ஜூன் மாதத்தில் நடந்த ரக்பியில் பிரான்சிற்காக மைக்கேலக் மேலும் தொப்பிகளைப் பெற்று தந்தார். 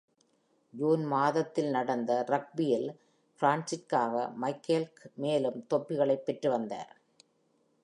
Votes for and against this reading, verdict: 2, 1, accepted